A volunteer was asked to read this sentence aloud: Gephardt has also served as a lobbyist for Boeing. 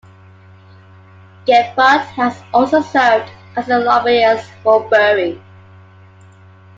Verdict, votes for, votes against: accepted, 2, 1